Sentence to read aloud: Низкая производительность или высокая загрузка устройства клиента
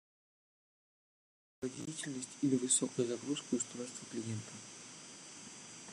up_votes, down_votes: 1, 2